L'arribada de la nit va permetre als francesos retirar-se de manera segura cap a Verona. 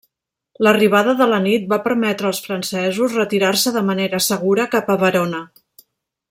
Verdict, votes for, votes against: rejected, 0, 2